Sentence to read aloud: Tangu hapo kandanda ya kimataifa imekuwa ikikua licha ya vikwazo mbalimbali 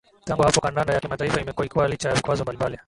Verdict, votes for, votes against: rejected, 0, 2